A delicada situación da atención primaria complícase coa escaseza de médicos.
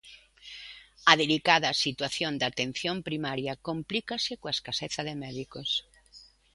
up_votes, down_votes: 2, 0